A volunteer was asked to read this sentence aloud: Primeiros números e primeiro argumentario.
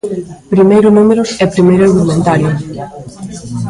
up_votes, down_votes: 1, 2